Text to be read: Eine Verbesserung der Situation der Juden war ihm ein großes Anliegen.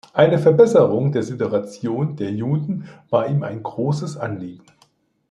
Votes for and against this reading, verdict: 1, 2, rejected